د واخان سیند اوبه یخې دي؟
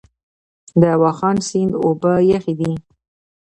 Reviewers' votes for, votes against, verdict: 1, 2, rejected